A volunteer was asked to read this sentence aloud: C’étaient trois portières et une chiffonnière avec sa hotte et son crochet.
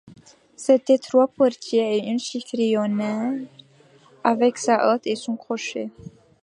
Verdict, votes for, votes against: rejected, 0, 2